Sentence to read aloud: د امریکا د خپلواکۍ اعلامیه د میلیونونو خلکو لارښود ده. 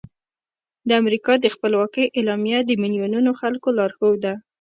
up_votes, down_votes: 2, 0